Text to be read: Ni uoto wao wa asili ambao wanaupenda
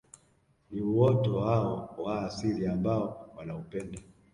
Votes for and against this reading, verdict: 0, 2, rejected